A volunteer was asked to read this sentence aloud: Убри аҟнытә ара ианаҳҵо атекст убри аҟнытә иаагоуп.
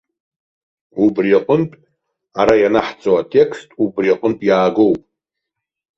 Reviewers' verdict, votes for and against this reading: accepted, 2, 0